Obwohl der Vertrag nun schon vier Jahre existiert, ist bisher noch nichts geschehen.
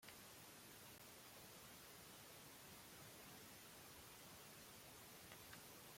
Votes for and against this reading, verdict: 0, 2, rejected